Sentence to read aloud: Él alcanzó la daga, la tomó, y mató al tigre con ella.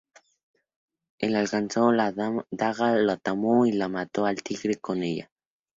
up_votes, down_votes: 0, 2